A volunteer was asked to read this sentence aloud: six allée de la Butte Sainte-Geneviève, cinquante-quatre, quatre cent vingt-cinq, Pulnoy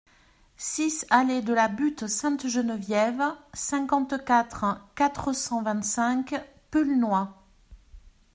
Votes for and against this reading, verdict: 2, 0, accepted